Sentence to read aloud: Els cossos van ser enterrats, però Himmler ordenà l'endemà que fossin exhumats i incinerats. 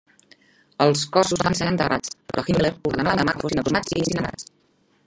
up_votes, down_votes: 0, 2